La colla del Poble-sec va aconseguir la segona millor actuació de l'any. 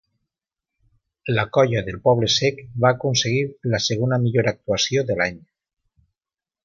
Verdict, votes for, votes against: accepted, 2, 0